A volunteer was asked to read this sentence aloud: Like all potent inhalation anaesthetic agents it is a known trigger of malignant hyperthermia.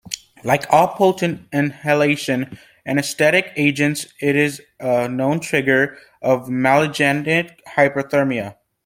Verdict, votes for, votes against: rejected, 0, 2